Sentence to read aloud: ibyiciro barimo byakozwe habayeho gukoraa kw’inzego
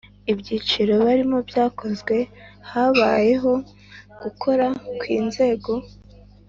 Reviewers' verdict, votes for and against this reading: accepted, 2, 0